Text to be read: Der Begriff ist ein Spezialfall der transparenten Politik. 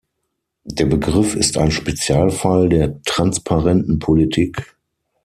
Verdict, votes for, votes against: accepted, 6, 0